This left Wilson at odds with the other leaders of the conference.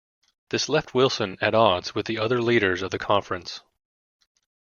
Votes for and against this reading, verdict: 2, 1, accepted